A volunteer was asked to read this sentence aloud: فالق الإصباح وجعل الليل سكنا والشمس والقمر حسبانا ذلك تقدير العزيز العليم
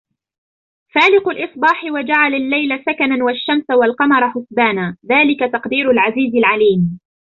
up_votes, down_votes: 2, 1